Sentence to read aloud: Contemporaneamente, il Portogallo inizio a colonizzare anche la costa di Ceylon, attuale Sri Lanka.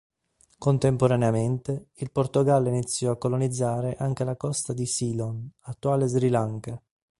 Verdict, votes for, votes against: accepted, 2, 0